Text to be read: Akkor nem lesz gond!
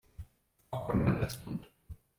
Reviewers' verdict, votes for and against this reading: rejected, 0, 2